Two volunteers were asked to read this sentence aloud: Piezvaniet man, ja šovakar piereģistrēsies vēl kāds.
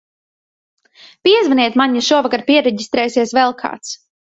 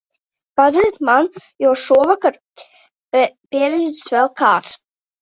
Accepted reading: first